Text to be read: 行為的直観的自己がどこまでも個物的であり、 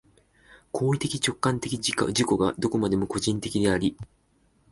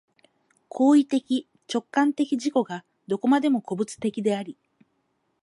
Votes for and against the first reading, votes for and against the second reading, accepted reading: 0, 2, 4, 0, second